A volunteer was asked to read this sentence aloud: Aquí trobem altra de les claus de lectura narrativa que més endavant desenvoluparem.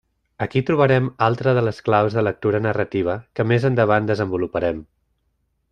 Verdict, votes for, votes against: rejected, 0, 2